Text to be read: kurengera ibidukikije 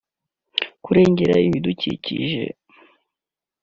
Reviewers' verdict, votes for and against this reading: accepted, 2, 0